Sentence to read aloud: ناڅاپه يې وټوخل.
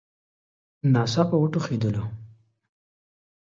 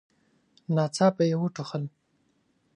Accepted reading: second